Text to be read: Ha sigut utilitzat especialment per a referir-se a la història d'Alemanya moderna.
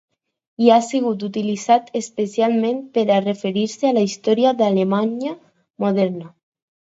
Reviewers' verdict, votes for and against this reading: accepted, 2, 0